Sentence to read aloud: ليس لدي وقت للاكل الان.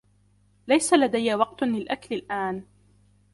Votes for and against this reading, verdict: 2, 1, accepted